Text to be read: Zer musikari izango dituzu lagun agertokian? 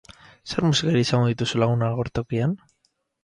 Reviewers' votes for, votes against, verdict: 4, 2, accepted